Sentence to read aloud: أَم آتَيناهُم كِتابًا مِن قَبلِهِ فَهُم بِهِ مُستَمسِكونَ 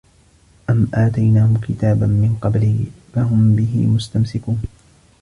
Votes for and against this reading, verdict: 3, 2, accepted